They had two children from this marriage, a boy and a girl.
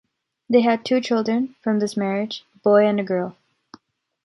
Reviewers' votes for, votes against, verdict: 0, 2, rejected